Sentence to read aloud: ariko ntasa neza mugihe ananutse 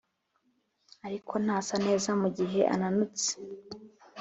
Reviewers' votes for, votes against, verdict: 2, 0, accepted